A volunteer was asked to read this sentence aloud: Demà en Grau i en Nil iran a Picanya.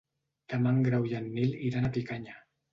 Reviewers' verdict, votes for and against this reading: accepted, 2, 0